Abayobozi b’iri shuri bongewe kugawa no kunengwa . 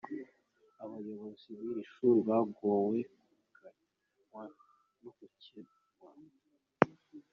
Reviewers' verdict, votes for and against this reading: rejected, 0, 2